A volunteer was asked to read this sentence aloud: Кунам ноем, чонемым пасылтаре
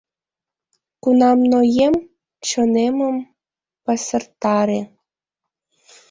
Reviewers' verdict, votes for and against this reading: rejected, 1, 2